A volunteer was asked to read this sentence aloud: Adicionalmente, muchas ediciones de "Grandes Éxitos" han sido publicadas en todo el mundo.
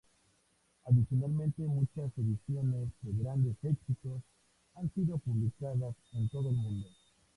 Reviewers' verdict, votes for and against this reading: accepted, 2, 0